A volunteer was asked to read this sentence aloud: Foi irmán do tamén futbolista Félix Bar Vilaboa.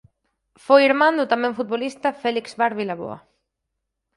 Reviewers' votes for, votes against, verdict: 4, 0, accepted